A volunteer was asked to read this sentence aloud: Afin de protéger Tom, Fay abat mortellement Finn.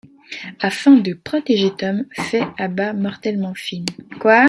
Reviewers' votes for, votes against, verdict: 0, 2, rejected